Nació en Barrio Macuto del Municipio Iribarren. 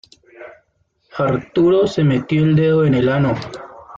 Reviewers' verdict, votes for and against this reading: rejected, 0, 2